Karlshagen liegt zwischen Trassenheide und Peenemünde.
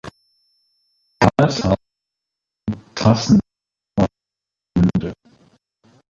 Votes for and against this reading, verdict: 0, 2, rejected